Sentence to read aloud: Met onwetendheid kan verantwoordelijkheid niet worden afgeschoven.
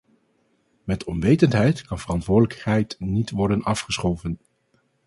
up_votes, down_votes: 0, 2